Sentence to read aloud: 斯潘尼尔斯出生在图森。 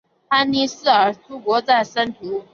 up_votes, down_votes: 1, 3